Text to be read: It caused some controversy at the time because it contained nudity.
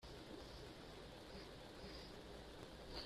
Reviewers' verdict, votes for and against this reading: rejected, 0, 2